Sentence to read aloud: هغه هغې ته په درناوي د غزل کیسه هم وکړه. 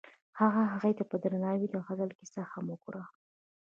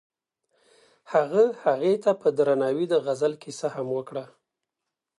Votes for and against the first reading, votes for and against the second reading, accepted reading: 1, 2, 2, 0, second